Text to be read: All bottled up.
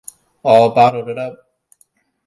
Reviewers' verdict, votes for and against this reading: rejected, 0, 2